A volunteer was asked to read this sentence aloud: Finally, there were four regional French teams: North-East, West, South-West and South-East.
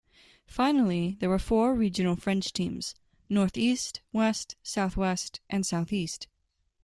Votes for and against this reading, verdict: 2, 0, accepted